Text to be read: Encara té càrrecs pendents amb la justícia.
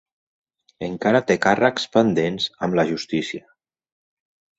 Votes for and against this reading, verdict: 2, 0, accepted